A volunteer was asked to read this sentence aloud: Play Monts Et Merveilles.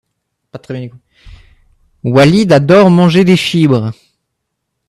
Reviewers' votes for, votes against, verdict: 0, 2, rejected